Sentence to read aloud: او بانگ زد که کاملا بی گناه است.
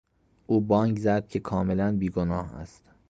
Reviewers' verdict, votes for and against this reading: accepted, 2, 0